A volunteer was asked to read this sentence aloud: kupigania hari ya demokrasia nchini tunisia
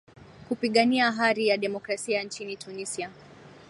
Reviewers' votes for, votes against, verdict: 12, 2, accepted